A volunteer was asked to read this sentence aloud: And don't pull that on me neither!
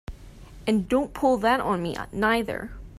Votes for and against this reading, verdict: 1, 2, rejected